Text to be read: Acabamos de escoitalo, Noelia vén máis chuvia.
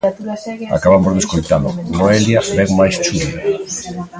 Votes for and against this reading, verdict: 1, 2, rejected